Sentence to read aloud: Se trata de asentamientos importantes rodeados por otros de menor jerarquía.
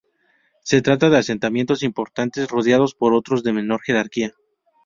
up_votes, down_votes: 4, 0